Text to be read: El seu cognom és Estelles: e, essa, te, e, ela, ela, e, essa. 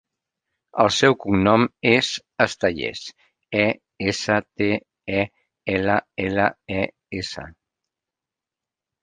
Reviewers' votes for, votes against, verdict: 0, 2, rejected